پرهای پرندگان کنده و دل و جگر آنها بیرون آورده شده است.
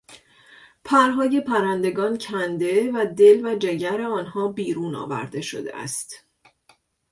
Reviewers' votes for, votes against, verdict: 3, 0, accepted